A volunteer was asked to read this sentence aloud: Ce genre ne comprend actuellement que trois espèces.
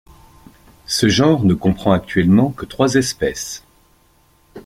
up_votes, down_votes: 2, 0